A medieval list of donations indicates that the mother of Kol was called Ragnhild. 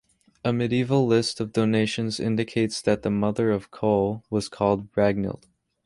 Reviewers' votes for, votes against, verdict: 2, 0, accepted